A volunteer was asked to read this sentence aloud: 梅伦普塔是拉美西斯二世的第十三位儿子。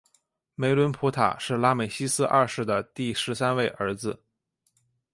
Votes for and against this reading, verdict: 3, 0, accepted